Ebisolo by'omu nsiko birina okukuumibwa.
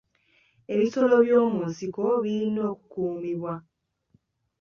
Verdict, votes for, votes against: accepted, 2, 0